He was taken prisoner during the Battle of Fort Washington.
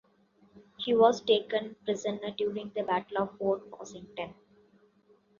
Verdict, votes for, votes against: accepted, 2, 0